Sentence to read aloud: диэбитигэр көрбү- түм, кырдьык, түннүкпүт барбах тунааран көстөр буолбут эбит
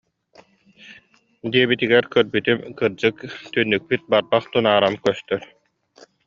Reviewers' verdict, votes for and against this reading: rejected, 1, 2